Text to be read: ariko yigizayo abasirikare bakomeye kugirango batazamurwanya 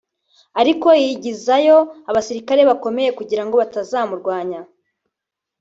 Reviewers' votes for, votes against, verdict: 1, 2, rejected